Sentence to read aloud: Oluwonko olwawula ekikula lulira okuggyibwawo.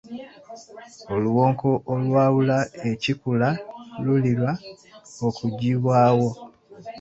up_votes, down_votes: 2, 1